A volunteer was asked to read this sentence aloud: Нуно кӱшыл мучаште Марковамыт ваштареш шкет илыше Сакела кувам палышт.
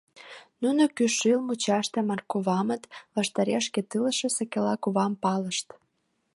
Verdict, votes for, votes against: accepted, 2, 0